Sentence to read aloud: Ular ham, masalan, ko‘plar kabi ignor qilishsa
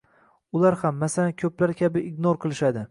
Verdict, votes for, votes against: accepted, 2, 0